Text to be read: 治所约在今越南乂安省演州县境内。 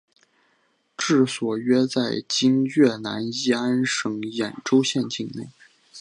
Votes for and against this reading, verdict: 3, 0, accepted